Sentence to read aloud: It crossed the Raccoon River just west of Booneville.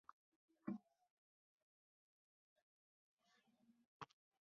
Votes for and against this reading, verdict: 0, 2, rejected